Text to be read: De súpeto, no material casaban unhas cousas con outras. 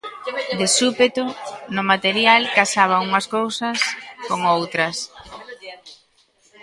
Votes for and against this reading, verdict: 1, 2, rejected